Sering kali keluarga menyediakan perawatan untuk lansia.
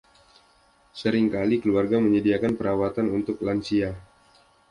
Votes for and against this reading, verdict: 2, 0, accepted